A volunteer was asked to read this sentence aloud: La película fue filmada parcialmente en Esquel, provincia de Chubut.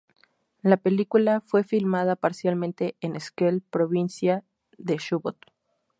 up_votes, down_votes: 0, 2